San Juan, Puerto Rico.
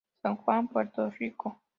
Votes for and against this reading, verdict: 2, 0, accepted